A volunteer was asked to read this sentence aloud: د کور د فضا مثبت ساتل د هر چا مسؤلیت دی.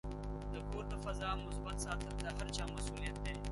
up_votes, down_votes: 1, 2